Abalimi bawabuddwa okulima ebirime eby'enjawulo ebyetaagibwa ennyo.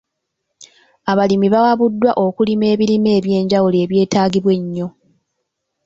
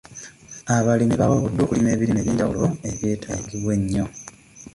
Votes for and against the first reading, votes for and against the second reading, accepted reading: 2, 0, 1, 2, first